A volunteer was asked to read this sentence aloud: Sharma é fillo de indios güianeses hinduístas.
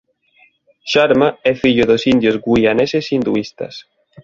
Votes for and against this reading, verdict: 0, 2, rejected